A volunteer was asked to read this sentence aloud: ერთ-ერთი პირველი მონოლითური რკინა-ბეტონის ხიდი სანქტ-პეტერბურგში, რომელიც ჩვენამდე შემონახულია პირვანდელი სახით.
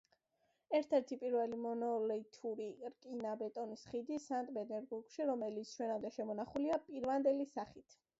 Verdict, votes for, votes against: accepted, 2, 0